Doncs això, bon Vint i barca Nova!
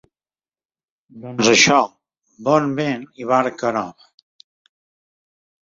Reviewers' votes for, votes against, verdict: 2, 1, accepted